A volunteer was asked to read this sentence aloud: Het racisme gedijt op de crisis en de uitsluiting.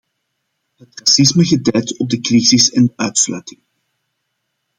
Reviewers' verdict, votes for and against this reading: rejected, 0, 2